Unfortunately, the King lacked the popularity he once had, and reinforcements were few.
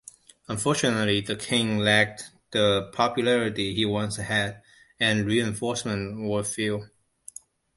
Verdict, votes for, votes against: accepted, 2, 0